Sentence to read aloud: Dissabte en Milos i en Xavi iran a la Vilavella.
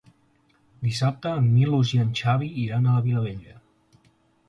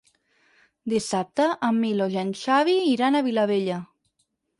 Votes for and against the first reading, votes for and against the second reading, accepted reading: 2, 0, 2, 6, first